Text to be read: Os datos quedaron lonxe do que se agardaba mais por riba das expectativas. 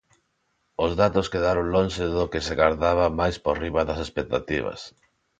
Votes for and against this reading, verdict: 0, 2, rejected